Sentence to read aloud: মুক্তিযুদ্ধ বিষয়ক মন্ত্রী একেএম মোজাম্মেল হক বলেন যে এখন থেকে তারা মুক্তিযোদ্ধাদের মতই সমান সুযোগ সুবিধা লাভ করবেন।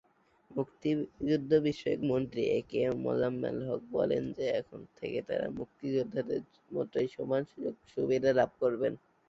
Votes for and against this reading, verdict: 0, 2, rejected